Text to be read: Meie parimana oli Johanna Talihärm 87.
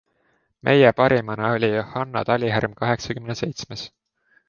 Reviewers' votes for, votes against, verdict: 0, 2, rejected